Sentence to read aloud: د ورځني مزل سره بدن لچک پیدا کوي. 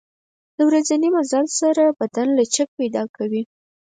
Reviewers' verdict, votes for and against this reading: accepted, 4, 0